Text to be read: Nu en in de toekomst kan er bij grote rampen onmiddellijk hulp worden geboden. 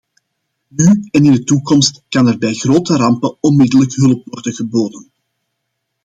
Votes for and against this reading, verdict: 2, 0, accepted